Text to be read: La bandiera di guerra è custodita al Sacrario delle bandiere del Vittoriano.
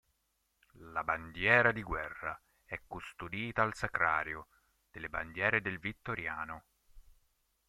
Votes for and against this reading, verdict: 2, 3, rejected